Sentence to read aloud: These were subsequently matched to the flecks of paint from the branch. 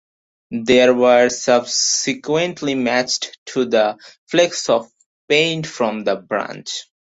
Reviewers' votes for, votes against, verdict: 2, 2, rejected